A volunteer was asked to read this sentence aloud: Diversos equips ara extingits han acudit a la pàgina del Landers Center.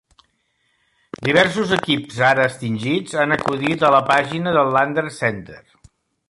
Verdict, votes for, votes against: accepted, 2, 0